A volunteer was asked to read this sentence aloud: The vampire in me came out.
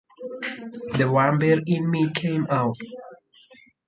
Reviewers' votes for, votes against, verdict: 4, 2, accepted